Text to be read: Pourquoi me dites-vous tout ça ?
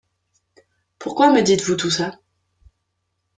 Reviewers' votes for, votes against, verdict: 2, 0, accepted